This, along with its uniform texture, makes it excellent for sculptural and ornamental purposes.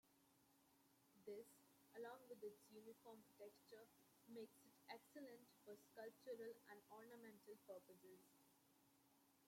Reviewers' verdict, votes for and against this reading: rejected, 0, 2